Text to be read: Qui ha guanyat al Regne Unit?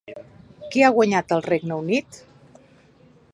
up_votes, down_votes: 2, 1